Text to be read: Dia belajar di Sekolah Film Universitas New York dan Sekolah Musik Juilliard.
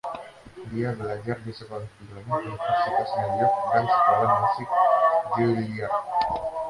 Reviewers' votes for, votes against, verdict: 0, 2, rejected